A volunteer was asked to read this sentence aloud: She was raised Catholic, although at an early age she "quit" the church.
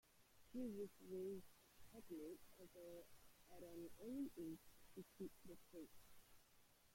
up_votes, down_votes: 0, 2